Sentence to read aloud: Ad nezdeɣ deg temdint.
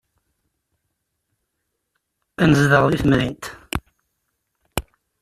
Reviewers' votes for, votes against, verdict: 2, 0, accepted